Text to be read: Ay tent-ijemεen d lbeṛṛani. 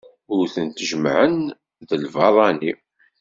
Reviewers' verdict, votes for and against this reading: rejected, 1, 2